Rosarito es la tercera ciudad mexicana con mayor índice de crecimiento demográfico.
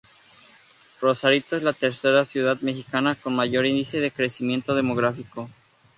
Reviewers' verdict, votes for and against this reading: accepted, 2, 0